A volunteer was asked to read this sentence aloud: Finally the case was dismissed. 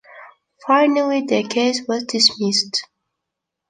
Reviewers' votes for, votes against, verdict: 2, 0, accepted